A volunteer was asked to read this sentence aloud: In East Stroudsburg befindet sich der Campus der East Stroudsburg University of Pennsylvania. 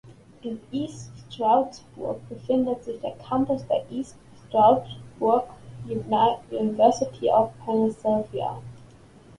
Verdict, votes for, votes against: rejected, 1, 2